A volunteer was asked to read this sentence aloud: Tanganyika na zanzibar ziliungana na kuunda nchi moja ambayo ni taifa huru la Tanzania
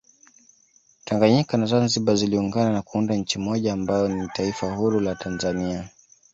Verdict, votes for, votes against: rejected, 1, 2